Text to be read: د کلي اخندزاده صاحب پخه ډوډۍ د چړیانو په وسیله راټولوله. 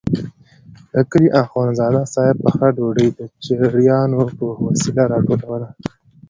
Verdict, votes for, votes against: accepted, 2, 0